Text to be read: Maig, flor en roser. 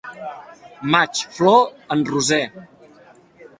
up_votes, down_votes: 2, 0